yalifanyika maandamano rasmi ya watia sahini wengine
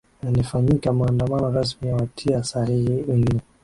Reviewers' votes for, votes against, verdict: 0, 2, rejected